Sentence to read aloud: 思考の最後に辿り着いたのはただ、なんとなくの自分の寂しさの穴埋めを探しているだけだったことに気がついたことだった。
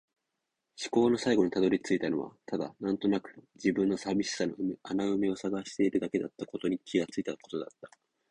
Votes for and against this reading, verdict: 4, 0, accepted